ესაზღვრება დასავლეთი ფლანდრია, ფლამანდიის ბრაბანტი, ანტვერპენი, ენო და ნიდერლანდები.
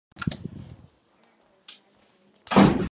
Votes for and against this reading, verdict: 1, 2, rejected